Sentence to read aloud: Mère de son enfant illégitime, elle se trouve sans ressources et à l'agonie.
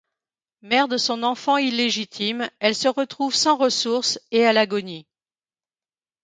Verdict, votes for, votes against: rejected, 1, 2